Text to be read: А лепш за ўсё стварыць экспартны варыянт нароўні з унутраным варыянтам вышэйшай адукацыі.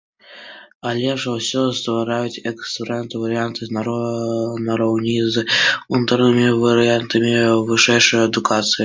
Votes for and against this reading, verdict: 0, 2, rejected